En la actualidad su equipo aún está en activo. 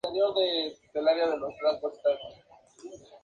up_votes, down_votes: 2, 2